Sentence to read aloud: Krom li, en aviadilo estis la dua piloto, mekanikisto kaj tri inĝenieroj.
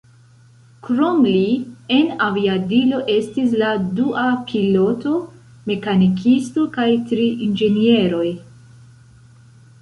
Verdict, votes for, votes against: rejected, 1, 2